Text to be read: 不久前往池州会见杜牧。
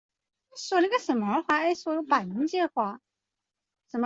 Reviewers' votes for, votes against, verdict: 1, 2, rejected